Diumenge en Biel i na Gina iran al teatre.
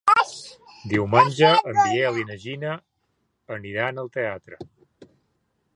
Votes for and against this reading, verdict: 0, 2, rejected